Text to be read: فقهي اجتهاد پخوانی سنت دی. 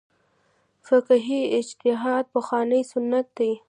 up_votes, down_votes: 1, 2